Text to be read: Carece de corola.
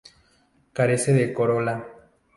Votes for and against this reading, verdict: 2, 0, accepted